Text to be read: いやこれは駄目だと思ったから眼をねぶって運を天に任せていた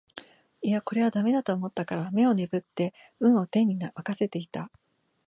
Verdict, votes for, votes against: rejected, 1, 2